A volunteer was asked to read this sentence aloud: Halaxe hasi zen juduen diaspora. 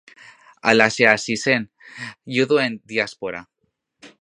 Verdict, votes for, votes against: accepted, 2, 0